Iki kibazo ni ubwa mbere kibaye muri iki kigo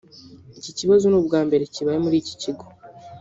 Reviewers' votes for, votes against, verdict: 0, 2, rejected